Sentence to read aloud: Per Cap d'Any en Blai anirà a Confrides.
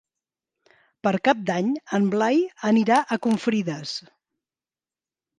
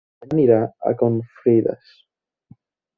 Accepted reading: first